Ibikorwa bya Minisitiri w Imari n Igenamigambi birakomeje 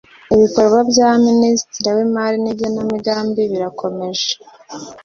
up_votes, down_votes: 2, 0